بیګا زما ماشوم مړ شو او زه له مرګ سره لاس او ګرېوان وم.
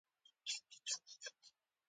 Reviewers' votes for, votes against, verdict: 1, 2, rejected